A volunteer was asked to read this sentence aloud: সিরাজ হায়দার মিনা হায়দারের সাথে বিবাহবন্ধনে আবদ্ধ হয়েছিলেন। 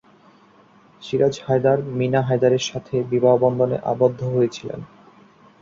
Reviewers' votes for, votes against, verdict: 2, 0, accepted